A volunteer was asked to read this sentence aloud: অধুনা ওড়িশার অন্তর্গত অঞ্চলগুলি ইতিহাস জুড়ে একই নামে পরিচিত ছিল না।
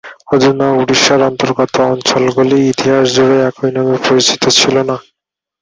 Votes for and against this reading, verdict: 2, 0, accepted